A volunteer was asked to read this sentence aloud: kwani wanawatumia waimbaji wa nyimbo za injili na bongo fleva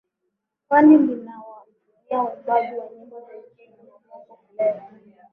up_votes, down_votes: 0, 2